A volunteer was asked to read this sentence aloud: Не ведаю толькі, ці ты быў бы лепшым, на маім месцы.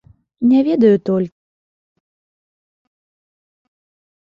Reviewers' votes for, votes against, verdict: 0, 2, rejected